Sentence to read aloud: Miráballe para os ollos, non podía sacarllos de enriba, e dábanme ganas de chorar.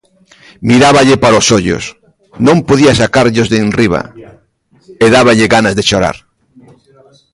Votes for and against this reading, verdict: 0, 2, rejected